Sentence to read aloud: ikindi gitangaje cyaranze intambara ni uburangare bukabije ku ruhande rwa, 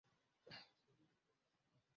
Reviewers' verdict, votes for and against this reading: rejected, 0, 2